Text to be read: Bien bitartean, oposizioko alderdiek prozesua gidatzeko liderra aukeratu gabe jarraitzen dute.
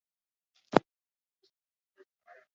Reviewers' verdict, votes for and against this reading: rejected, 0, 8